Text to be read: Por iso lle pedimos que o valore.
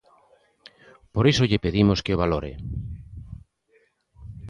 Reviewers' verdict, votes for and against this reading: accepted, 2, 0